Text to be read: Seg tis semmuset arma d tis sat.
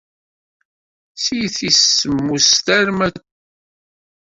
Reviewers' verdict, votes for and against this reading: rejected, 0, 2